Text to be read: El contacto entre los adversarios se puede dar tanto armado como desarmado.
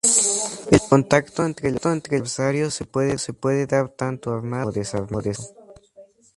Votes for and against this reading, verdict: 2, 4, rejected